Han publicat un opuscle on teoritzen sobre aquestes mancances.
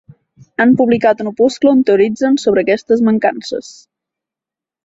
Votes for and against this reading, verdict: 2, 0, accepted